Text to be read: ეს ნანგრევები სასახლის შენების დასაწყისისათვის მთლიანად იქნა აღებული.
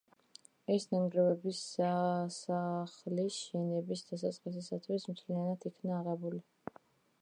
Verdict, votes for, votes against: rejected, 0, 2